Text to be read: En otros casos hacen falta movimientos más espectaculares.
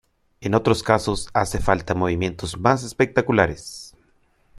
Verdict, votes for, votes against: rejected, 0, 2